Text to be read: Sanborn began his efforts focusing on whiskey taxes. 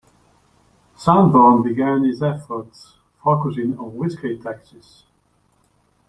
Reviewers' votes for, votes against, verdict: 2, 0, accepted